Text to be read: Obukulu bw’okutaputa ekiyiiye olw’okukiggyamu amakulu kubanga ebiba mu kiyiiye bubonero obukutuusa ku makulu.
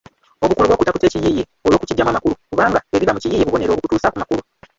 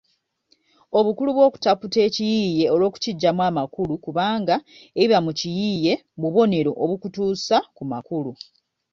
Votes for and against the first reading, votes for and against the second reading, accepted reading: 0, 2, 2, 0, second